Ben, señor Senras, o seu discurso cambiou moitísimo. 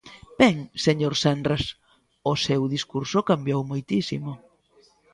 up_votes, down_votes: 2, 0